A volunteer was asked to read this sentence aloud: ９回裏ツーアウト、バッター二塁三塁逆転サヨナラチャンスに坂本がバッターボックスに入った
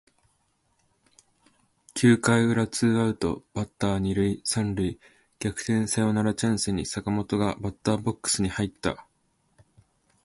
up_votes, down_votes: 0, 2